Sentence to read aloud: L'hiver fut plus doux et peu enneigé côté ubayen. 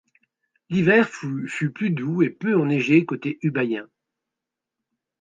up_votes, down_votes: 1, 2